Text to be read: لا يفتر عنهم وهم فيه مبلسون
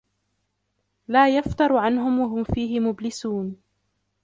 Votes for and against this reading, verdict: 1, 2, rejected